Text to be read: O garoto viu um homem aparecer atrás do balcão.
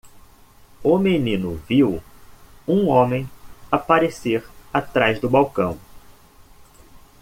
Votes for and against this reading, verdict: 1, 2, rejected